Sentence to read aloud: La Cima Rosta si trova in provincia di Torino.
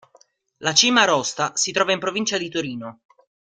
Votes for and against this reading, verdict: 2, 0, accepted